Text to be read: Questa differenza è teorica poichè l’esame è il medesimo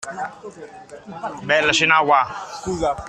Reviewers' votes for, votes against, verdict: 0, 2, rejected